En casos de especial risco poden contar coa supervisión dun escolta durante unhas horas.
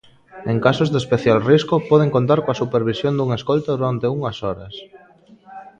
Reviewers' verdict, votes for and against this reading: rejected, 1, 2